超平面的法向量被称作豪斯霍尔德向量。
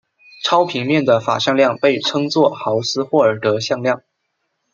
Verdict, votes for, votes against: accepted, 2, 0